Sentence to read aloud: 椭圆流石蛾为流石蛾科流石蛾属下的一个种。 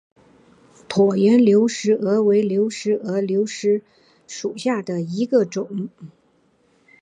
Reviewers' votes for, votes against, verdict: 2, 0, accepted